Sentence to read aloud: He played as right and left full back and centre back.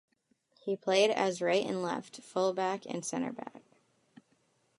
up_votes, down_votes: 2, 0